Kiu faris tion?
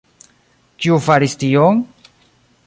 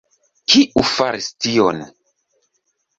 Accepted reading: second